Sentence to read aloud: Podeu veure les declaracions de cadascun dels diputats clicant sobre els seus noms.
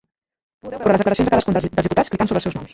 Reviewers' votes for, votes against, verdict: 0, 3, rejected